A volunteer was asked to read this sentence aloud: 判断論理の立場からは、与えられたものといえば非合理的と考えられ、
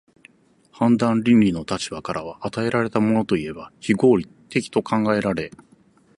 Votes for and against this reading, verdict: 0, 4, rejected